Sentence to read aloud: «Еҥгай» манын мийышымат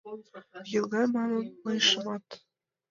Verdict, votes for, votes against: rejected, 0, 2